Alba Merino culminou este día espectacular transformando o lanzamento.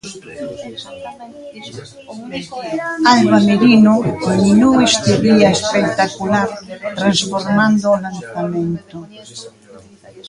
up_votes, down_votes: 1, 3